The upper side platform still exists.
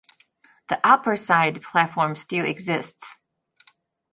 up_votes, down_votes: 2, 1